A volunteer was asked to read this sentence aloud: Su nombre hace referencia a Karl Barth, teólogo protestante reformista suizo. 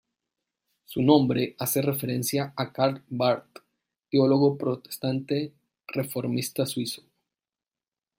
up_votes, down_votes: 2, 0